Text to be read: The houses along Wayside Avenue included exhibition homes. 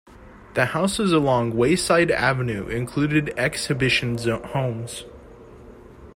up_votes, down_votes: 0, 2